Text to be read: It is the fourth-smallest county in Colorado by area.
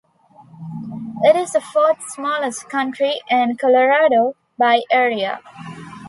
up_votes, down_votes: 1, 2